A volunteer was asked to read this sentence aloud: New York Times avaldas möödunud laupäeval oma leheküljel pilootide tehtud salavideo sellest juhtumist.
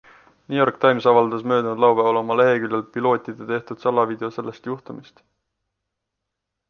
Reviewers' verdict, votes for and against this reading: accepted, 2, 0